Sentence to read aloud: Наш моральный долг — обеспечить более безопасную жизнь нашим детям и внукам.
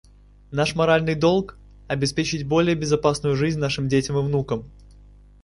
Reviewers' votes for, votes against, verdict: 2, 0, accepted